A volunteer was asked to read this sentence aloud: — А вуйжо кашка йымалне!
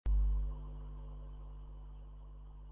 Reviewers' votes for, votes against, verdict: 0, 2, rejected